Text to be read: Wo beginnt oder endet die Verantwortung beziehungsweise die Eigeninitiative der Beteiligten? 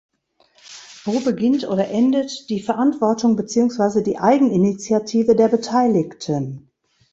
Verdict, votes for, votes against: rejected, 1, 2